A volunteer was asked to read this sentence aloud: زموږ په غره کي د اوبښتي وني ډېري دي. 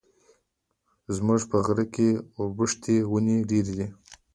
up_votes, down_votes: 2, 0